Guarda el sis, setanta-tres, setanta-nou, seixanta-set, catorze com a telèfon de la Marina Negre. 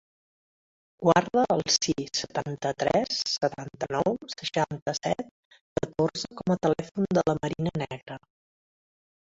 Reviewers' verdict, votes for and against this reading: rejected, 0, 2